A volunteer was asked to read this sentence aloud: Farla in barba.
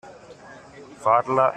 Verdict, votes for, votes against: rejected, 0, 2